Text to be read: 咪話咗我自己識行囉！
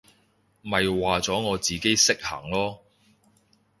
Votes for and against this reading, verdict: 2, 0, accepted